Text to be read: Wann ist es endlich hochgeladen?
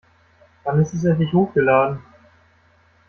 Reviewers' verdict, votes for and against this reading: accepted, 2, 0